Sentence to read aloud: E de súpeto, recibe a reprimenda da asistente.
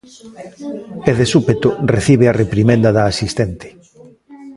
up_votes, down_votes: 1, 2